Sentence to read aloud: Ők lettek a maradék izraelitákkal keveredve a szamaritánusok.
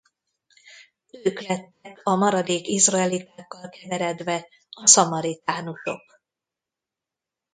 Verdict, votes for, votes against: rejected, 1, 2